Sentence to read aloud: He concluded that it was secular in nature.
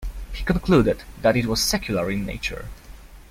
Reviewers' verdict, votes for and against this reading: accepted, 2, 0